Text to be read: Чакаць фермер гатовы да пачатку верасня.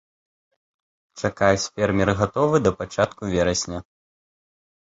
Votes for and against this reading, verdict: 2, 0, accepted